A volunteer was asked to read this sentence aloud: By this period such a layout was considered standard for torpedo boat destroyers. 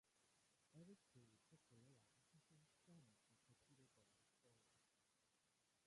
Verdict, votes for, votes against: rejected, 0, 2